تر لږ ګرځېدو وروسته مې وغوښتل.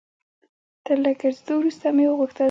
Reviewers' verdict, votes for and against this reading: accepted, 2, 0